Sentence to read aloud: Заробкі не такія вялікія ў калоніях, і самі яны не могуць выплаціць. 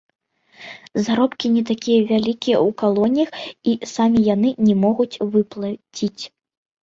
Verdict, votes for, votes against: rejected, 1, 2